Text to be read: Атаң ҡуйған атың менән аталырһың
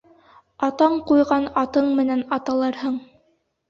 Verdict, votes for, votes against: rejected, 0, 2